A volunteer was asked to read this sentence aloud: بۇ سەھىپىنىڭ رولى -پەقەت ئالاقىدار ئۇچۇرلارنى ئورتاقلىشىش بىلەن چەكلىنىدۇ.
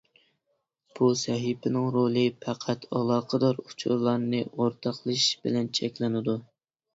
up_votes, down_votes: 2, 0